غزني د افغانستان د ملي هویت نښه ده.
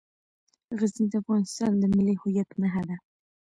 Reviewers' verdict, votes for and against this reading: accepted, 2, 0